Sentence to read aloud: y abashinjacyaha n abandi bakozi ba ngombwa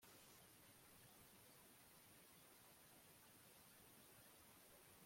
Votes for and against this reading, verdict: 0, 2, rejected